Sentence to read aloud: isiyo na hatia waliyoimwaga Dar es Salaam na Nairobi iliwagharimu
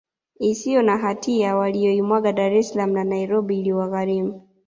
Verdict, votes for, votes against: accepted, 2, 0